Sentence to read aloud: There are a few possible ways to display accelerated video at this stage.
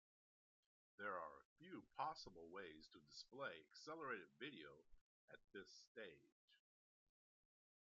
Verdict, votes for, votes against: rejected, 1, 2